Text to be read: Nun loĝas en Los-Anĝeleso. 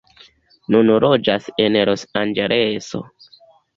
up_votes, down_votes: 1, 2